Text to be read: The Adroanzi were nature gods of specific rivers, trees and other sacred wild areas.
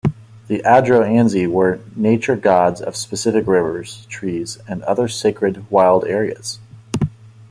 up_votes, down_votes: 2, 0